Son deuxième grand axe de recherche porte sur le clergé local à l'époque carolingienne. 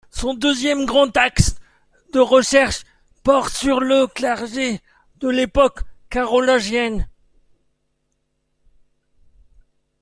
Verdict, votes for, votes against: rejected, 0, 2